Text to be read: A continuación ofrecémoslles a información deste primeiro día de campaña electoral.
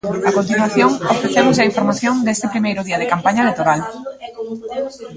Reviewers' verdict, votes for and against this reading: rejected, 0, 2